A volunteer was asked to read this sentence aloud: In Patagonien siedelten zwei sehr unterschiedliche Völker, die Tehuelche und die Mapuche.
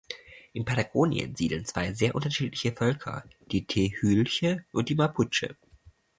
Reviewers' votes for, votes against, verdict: 0, 2, rejected